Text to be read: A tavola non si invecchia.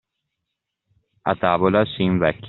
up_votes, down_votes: 0, 2